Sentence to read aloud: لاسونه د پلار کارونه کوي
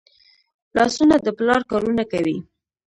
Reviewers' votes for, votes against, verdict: 1, 2, rejected